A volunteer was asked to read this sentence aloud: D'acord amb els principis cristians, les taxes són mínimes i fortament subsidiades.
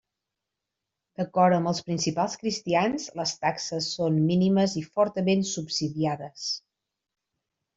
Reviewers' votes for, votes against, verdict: 0, 2, rejected